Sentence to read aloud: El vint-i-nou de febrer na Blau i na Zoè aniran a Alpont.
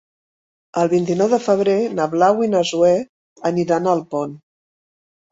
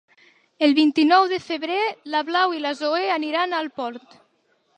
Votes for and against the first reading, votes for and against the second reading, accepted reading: 3, 0, 0, 2, first